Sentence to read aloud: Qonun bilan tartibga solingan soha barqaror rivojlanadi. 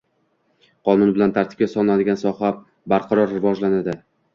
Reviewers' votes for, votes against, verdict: 1, 2, rejected